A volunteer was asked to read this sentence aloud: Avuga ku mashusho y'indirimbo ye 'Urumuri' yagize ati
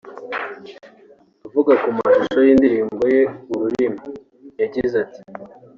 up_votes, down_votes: 0, 2